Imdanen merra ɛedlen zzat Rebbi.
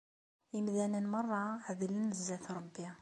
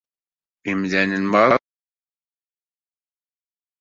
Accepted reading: first